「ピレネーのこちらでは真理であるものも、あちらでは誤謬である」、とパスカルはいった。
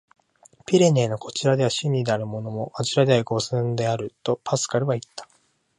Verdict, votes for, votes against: rejected, 0, 2